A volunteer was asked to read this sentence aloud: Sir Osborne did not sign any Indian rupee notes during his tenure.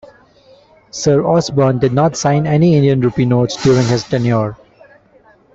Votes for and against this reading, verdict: 3, 1, accepted